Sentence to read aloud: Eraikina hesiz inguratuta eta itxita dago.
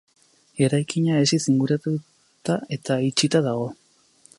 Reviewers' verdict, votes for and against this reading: rejected, 0, 2